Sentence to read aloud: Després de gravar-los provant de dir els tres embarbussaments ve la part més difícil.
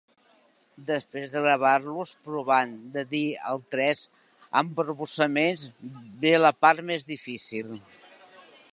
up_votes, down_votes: 1, 3